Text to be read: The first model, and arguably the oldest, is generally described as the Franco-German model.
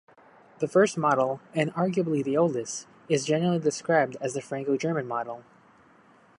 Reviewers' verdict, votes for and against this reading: accepted, 2, 0